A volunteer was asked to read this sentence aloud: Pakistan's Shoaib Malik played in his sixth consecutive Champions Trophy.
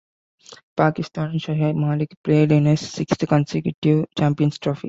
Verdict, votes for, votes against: accepted, 2, 0